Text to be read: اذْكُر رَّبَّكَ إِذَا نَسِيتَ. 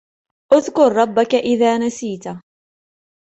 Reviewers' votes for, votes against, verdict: 2, 0, accepted